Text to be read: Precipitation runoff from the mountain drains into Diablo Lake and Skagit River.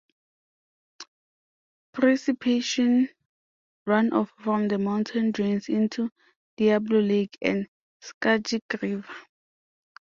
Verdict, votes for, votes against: rejected, 0, 2